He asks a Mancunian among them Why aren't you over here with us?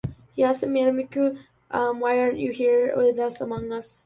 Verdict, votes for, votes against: rejected, 0, 2